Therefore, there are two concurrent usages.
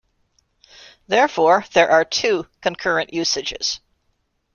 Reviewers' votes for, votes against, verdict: 2, 0, accepted